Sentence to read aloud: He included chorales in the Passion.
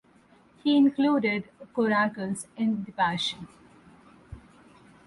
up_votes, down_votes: 0, 4